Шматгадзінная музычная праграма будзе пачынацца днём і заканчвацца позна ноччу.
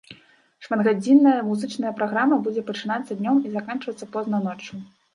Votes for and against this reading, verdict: 2, 0, accepted